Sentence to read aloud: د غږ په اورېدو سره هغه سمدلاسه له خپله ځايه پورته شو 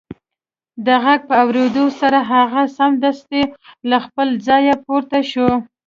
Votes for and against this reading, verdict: 2, 0, accepted